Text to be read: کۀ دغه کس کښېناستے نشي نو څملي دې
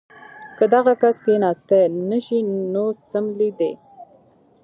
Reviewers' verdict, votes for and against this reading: rejected, 0, 2